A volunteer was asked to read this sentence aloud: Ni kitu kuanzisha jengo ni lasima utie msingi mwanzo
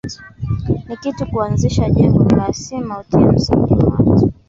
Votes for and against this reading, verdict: 0, 2, rejected